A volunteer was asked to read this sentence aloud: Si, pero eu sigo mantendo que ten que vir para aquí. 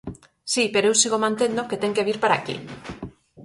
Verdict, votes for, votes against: accepted, 6, 0